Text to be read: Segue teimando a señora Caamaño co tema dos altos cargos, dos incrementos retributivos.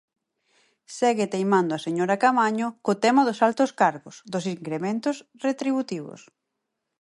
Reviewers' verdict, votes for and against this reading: accepted, 4, 0